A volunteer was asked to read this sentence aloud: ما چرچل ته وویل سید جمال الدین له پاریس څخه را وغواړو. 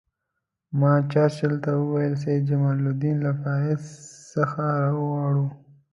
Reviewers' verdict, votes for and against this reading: accepted, 2, 0